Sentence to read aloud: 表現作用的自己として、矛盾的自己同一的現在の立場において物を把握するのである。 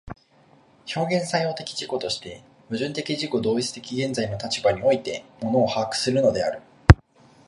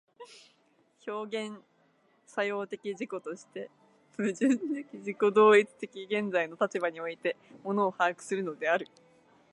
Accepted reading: first